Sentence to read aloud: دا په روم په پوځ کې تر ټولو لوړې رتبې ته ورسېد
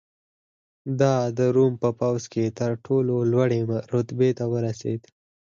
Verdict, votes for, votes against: rejected, 0, 4